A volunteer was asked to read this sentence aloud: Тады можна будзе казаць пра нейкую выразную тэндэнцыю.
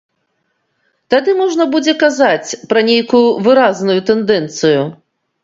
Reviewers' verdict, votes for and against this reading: accepted, 2, 0